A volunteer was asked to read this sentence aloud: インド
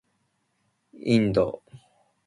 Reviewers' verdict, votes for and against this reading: accepted, 2, 0